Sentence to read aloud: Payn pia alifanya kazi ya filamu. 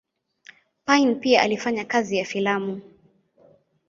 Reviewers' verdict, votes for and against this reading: accepted, 2, 0